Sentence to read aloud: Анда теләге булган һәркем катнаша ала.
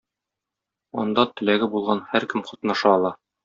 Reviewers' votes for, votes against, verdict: 2, 0, accepted